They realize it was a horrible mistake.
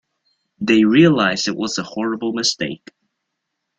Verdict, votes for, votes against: accepted, 2, 0